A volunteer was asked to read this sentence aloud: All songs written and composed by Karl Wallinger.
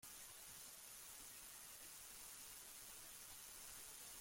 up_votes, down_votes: 0, 2